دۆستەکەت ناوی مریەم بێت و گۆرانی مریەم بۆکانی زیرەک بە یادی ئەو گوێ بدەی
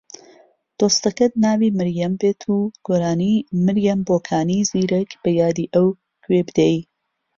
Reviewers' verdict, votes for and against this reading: accepted, 2, 0